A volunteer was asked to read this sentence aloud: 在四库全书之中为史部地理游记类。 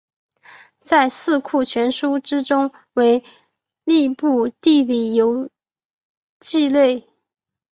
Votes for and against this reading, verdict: 2, 0, accepted